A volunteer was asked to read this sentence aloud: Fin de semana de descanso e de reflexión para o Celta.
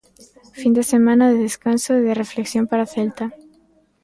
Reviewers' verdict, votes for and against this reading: accepted, 2, 1